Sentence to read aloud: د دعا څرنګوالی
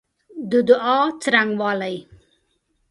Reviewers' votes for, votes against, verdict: 2, 0, accepted